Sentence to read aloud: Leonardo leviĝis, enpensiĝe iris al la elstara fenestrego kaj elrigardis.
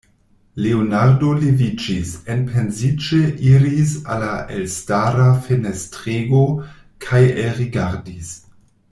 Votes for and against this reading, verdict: 1, 2, rejected